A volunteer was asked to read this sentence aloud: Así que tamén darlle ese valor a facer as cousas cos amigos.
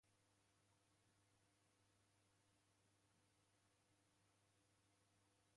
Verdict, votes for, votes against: rejected, 0, 2